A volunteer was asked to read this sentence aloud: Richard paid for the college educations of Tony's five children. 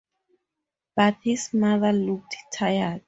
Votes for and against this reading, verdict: 0, 6, rejected